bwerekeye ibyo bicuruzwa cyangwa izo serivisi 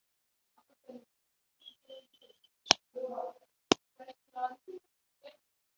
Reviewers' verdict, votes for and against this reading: rejected, 1, 5